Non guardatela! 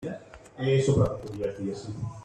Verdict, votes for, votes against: rejected, 0, 2